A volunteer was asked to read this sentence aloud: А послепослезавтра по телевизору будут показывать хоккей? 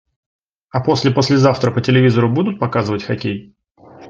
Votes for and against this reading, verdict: 2, 0, accepted